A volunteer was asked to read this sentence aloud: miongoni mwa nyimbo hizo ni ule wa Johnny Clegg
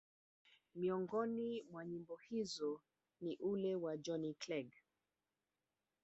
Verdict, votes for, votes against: rejected, 1, 2